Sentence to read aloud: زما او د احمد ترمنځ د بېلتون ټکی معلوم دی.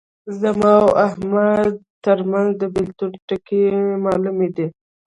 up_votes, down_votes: 1, 2